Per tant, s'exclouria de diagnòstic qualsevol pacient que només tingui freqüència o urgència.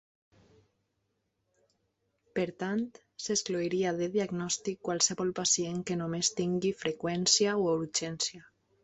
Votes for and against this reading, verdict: 2, 0, accepted